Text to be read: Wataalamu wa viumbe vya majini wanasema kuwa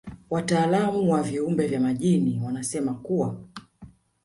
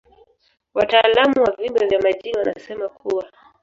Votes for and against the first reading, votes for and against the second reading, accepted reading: 2, 1, 1, 2, first